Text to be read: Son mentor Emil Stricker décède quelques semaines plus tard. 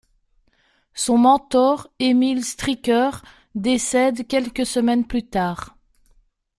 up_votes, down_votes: 2, 0